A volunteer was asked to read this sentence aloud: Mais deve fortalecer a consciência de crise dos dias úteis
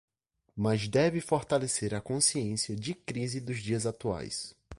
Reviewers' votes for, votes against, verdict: 0, 2, rejected